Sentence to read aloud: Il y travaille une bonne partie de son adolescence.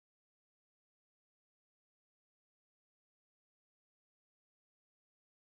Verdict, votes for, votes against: rejected, 0, 2